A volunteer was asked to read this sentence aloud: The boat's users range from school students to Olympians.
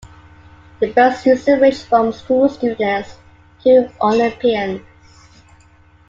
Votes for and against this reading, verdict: 2, 1, accepted